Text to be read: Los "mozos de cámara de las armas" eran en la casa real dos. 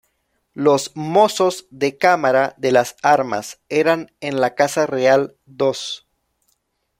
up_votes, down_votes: 2, 0